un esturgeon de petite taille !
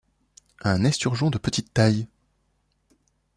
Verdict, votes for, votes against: accepted, 2, 0